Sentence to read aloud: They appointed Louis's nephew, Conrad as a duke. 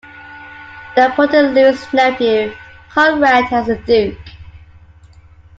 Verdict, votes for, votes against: rejected, 0, 2